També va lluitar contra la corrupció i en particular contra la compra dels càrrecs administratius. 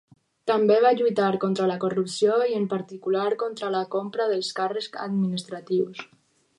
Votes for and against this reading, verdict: 4, 0, accepted